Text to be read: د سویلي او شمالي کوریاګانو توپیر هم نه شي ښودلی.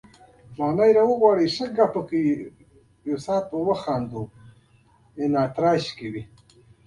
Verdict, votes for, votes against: rejected, 1, 2